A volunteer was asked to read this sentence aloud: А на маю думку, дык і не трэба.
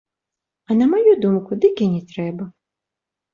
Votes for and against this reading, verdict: 2, 0, accepted